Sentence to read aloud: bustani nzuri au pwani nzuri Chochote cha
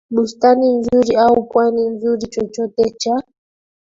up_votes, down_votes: 0, 2